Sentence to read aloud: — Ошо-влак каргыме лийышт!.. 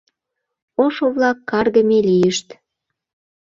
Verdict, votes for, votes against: accepted, 2, 0